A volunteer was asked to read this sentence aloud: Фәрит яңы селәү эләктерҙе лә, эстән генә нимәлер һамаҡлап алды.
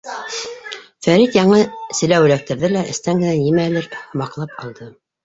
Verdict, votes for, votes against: rejected, 1, 2